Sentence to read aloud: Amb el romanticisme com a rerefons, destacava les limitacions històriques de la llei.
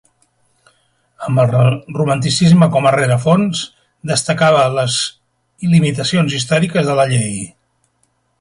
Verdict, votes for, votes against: rejected, 2, 3